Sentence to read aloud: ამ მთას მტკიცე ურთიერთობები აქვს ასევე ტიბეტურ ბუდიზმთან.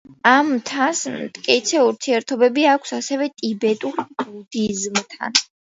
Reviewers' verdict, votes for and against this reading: rejected, 1, 2